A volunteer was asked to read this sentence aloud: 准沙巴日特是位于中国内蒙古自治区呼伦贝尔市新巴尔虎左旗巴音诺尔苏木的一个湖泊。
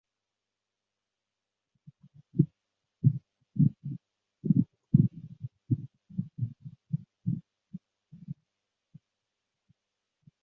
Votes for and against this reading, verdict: 0, 5, rejected